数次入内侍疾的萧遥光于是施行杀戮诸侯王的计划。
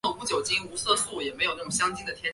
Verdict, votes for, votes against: rejected, 0, 2